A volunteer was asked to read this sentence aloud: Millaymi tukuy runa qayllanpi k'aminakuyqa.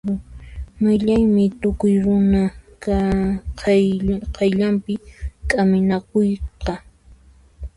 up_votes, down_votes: 1, 2